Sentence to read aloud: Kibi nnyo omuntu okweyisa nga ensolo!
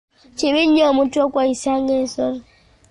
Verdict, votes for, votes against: accepted, 2, 0